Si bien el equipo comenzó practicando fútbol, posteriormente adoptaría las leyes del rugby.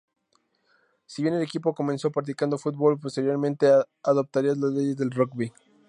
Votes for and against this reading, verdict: 2, 0, accepted